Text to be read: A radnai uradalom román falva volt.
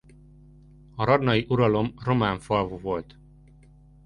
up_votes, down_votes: 1, 2